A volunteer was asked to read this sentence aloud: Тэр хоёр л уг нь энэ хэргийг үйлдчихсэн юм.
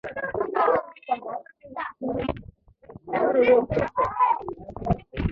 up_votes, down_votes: 1, 3